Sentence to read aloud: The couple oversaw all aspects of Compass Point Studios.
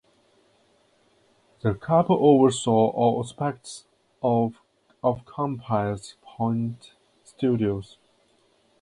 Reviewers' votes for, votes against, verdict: 2, 2, rejected